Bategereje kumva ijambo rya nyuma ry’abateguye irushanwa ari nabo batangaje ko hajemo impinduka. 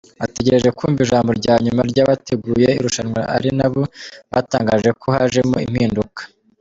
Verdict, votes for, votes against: rejected, 0, 2